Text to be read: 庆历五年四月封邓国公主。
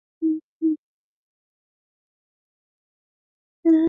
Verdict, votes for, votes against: rejected, 1, 4